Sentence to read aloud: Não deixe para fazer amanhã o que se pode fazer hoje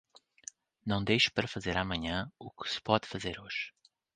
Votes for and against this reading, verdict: 2, 1, accepted